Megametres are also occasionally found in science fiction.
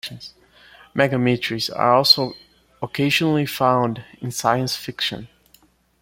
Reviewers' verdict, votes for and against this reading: accepted, 2, 0